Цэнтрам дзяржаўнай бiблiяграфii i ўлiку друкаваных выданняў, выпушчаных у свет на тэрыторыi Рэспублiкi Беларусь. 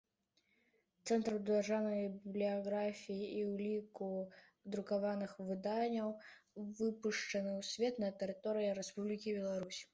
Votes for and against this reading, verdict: 1, 2, rejected